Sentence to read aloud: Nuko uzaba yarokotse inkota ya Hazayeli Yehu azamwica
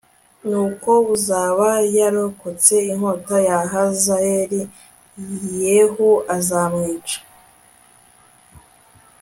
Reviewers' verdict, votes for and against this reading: accepted, 2, 0